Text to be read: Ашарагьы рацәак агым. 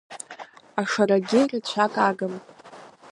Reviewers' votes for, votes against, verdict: 1, 2, rejected